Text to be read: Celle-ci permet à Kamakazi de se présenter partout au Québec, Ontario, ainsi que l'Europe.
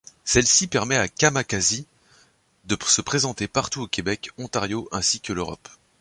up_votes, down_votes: 1, 2